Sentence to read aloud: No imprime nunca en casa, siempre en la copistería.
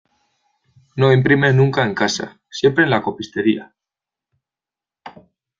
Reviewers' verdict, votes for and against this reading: accepted, 2, 0